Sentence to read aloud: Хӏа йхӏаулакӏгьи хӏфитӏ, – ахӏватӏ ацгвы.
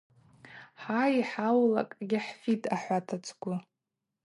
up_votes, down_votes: 2, 0